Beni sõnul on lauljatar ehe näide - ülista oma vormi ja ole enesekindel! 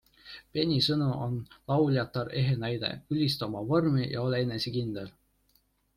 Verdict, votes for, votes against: accepted, 2, 0